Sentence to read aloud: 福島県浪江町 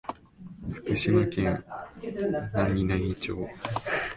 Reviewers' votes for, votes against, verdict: 1, 9, rejected